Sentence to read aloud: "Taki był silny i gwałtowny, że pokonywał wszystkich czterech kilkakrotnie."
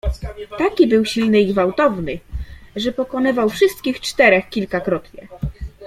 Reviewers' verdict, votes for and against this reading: accepted, 2, 1